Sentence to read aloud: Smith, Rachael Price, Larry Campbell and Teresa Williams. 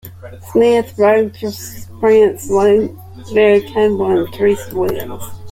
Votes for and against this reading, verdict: 0, 2, rejected